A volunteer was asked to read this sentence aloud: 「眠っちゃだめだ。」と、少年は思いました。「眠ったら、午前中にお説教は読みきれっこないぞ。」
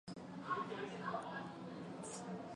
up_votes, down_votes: 0, 2